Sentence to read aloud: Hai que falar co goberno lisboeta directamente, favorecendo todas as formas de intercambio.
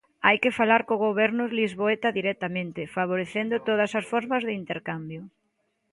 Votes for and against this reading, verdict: 2, 0, accepted